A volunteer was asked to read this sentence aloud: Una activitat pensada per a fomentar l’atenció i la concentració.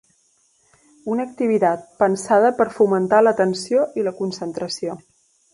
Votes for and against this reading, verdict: 0, 2, rejected